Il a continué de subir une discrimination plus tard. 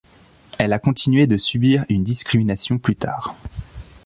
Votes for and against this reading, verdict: 0, 2, rejected